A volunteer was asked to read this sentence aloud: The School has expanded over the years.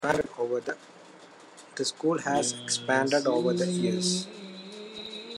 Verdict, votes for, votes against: rejected, 0, 2